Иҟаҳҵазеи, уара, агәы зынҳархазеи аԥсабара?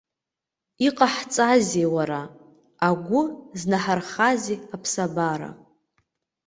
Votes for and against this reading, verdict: 2, 0, accepted